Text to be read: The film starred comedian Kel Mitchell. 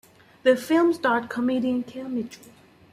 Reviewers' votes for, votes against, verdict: 2, 0, accepted